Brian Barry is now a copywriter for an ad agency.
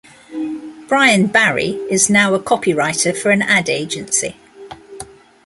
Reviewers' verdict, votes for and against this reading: accepted, 2, 0